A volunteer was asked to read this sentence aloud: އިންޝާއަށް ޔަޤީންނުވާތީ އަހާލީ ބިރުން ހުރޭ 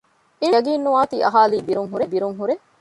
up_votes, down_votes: 0, 2